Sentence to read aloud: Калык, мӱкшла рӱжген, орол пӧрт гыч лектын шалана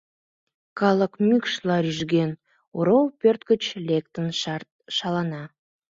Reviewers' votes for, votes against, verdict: 0, 2, rejected